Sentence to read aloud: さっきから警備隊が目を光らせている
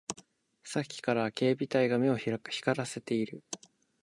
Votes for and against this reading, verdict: 0, 2, rejected